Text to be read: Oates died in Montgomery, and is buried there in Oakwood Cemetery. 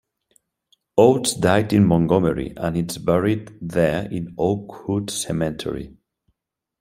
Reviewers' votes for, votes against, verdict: 2, 0, accepted